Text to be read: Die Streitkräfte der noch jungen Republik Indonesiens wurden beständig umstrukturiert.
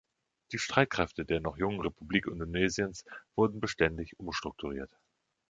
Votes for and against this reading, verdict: 2, 0, accepted